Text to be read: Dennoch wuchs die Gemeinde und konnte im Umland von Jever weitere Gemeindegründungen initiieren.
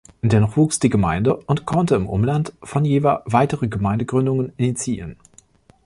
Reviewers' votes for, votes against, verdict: 2, 0, accepted